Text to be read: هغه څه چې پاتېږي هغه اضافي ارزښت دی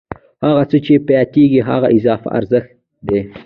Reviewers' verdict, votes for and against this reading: accepted, 2, 0